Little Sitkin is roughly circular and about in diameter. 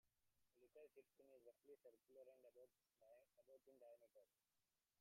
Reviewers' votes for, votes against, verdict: 0, 2, rejected